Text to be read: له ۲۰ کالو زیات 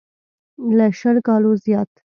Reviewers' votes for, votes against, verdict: 0, 2, rejected